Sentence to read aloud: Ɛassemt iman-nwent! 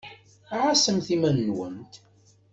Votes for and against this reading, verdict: 2, 0, accepted